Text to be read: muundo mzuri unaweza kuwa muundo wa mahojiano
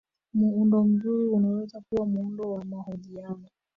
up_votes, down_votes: 0, 2